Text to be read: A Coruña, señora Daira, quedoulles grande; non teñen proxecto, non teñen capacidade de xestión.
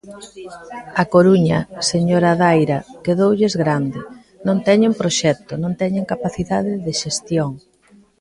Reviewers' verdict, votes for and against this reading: accepted, 2, 1